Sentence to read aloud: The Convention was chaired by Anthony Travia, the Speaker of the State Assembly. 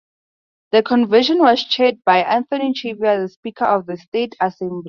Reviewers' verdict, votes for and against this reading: rejected, 0, 2